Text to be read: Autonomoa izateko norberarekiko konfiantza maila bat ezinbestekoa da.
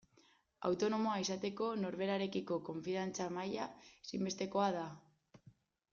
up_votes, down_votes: 0, 2